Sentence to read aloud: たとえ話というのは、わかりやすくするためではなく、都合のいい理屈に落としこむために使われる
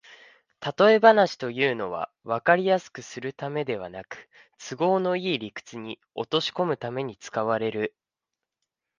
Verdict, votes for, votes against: accepted, 2, 1